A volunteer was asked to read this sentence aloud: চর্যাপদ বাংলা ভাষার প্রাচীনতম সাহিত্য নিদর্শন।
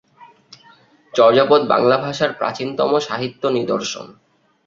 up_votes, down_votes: 4, 0